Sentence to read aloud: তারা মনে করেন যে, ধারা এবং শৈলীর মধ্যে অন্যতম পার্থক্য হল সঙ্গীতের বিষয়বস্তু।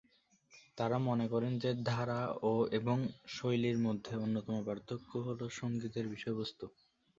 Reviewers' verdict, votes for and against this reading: rejected, 1, 2